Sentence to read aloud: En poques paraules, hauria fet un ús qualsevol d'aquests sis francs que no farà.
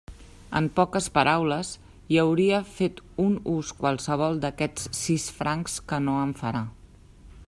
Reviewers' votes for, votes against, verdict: 0, 2, rejected